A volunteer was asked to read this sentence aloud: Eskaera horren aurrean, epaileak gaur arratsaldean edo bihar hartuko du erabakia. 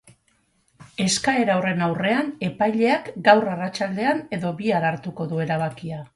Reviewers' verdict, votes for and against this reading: rejected, 0, 2